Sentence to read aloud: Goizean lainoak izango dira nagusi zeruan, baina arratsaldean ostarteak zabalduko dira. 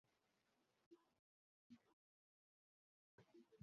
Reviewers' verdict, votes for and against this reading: rejected, 0, 2